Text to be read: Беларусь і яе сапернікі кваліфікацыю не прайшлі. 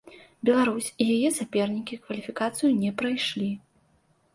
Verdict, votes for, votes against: accepted, 2, 0